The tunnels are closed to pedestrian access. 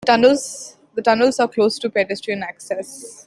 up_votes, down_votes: 1, 2